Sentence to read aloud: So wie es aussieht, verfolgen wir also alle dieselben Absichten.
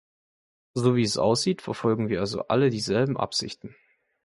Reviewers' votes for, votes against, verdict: 2, 0, accepted